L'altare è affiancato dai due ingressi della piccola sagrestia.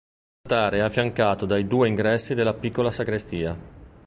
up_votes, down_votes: 1, 2